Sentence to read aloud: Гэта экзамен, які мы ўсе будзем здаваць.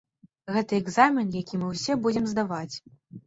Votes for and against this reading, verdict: 2, 0, accepted